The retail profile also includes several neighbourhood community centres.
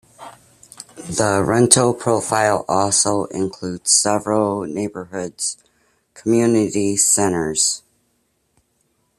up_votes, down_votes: 2, 1